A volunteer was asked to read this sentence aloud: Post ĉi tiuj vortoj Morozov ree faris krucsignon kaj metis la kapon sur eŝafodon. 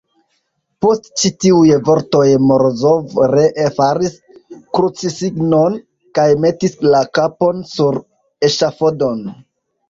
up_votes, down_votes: 1, 2